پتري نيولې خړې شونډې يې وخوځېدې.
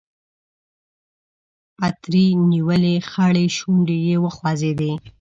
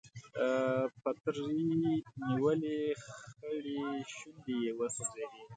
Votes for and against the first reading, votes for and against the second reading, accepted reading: 2, 0, 1, 2, first